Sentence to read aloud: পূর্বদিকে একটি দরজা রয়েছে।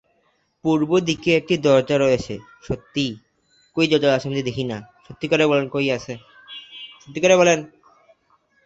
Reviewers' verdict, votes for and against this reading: rejected, 0, 2